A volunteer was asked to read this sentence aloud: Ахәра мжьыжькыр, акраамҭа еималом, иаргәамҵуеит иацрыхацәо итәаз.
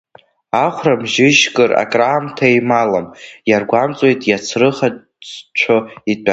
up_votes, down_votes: 0, 2